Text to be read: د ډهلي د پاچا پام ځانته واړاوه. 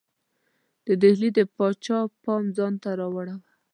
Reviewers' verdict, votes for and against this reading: rejected, 1, 2